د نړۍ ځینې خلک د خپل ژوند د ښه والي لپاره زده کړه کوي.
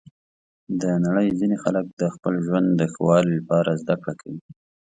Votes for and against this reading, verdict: 2, 0, accepted